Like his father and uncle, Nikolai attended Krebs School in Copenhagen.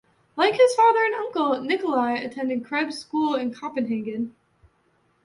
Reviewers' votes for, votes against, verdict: 2, 0, accepted